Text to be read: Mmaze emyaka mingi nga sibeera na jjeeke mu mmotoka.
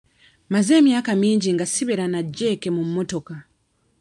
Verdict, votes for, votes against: accepted, 2, 0